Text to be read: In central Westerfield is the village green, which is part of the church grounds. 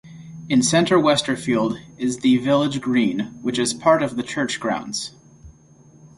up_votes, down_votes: 2, 0